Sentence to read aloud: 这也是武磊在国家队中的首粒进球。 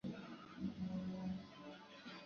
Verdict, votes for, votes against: rejected, 0, 3